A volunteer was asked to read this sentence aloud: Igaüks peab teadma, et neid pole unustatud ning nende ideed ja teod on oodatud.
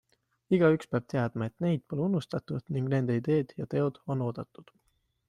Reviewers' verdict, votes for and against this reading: accepted, 2, 0